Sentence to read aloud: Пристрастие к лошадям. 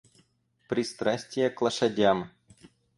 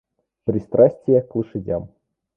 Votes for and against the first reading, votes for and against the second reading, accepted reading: 2, 4, 2, 0, second